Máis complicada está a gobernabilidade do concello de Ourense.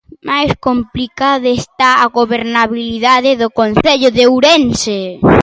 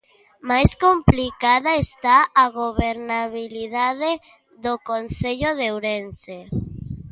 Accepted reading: second